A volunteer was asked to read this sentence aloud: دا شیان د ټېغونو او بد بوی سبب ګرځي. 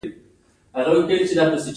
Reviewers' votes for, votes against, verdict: 2, 0, accepted